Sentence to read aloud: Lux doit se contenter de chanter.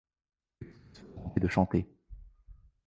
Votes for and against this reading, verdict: 0, 2, rejected